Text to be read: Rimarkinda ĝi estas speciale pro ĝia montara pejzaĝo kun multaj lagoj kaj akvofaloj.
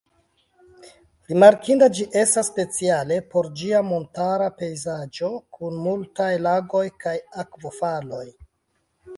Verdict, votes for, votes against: rejected, 0, 2